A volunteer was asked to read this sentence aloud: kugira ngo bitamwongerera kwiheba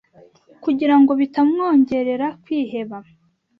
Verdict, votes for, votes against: accepted, 2, 0